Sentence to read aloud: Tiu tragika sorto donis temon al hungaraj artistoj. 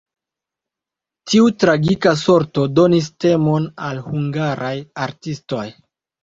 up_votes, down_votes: 2, 0